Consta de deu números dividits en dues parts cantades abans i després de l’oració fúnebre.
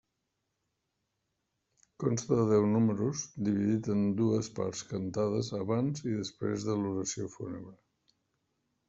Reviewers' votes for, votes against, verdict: 0, 2, rejected